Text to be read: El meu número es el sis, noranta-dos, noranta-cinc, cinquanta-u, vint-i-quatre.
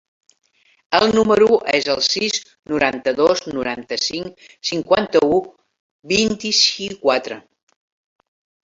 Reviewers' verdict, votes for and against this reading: rejected, 0, 2